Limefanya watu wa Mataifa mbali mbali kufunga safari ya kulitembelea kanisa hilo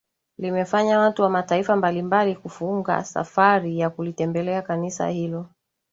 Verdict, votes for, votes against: accepted, 3, 0